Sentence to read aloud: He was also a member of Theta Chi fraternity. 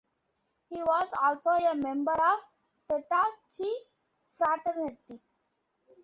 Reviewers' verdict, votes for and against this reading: accepted, 2, 0